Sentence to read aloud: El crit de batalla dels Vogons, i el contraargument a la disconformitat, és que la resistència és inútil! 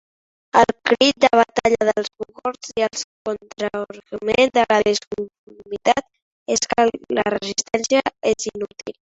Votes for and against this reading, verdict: 0, 2, rejected